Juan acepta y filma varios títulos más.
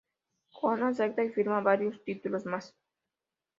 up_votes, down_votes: 2, 0